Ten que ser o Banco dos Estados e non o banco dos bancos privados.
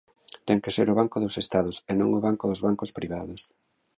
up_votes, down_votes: 2, 0